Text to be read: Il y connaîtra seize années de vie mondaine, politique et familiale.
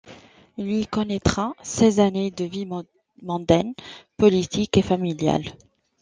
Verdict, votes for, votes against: accepted, 2, 0